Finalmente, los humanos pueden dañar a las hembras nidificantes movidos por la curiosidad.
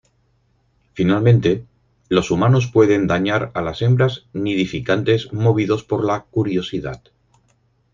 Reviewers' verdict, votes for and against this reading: accepted, 4, 2